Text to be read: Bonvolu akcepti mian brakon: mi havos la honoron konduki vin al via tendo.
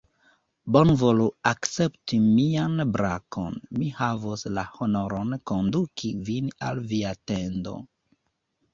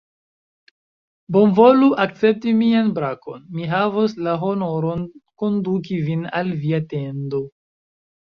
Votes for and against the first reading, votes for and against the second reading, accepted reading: 0, 2, 2, 0, second